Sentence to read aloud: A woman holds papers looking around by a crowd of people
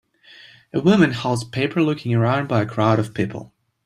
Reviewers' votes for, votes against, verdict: 0, 2, rejected